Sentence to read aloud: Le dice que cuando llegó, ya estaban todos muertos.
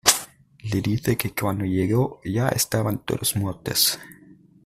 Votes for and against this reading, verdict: 1, 2, rejected